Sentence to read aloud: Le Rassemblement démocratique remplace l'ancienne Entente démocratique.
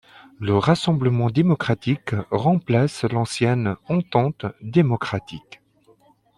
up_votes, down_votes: 2, 0